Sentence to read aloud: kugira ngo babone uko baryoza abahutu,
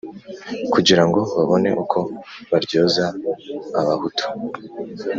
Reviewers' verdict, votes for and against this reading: accepted, 2, 0